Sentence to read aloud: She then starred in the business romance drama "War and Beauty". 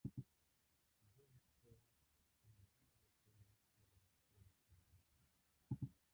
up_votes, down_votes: 0, 2